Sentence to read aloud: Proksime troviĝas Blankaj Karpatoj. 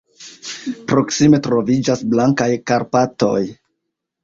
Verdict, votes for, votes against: rejected, 0, 2